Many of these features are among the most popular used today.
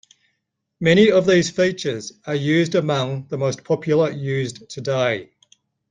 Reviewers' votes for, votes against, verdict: 0, 2, rejected